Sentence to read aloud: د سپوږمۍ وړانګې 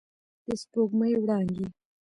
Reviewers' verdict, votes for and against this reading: accepted, 2, 0